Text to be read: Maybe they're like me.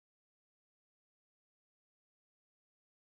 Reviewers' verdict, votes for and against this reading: rejected, 0, 2